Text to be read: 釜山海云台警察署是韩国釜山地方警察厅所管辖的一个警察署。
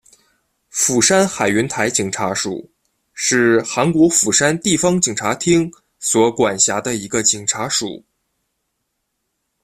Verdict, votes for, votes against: accepted, 2, 0